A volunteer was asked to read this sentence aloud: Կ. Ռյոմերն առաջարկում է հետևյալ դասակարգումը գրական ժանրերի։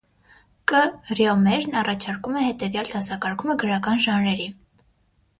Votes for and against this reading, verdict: 6, 0, accepted